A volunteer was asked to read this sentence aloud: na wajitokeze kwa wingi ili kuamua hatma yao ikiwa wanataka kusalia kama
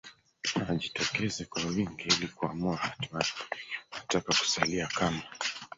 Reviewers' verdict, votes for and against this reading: rejected, 1, 2